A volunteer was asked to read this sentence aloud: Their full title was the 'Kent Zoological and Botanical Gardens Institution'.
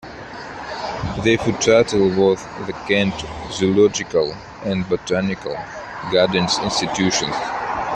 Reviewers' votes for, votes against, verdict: 0, 2, rejected